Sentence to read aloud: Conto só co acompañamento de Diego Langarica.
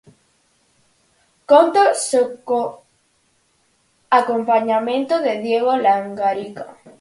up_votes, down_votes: 0, 4